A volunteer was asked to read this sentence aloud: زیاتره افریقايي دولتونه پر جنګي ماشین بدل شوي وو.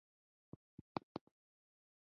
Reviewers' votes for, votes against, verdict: 0, 2, rejected